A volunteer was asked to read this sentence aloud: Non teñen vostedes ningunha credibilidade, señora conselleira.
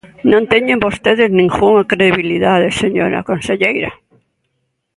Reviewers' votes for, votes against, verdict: 0, 2, rejected